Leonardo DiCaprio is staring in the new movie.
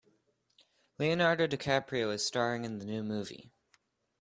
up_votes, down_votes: 3, 0